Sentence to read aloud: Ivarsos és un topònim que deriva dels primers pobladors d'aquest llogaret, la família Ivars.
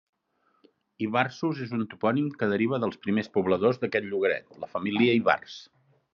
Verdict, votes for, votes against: accepted, 2, 0